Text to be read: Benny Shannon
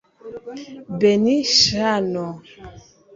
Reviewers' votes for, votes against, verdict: 0, 2, rejected